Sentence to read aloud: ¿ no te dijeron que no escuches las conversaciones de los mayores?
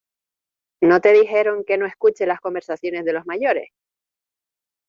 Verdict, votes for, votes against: accepted, 2, 0